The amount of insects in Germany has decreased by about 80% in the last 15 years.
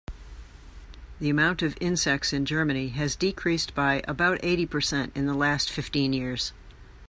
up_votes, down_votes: 0, 2